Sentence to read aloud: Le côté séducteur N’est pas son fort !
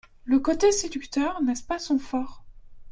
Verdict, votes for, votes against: rejected, 0, 2